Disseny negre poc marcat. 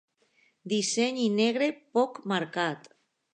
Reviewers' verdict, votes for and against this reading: rejected, 0, 2